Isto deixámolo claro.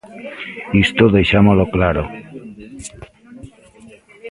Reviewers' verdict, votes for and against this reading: rejected, 0, 2